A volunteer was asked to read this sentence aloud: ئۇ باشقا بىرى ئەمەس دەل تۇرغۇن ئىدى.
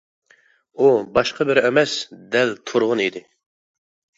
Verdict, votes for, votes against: accepted, 2, 0